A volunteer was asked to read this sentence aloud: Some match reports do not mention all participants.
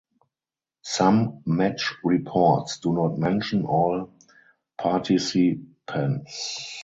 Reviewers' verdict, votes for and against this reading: rejected, 2, 4